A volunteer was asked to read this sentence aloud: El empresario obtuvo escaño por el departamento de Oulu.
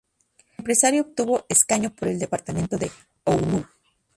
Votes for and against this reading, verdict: 0, 4, rejected